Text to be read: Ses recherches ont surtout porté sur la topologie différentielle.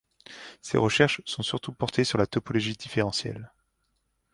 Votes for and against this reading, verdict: 1, 2, rejected